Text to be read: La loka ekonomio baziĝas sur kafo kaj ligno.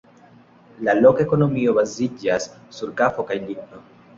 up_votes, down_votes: 2, 0